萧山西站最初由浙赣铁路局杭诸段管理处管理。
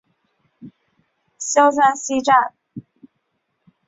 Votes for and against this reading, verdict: 0, 2, rejected